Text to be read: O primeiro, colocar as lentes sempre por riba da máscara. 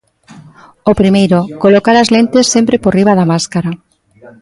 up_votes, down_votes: 1, 2